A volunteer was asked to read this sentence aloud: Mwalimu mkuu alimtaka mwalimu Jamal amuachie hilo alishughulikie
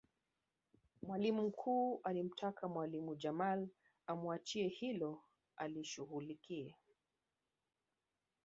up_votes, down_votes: 2, 0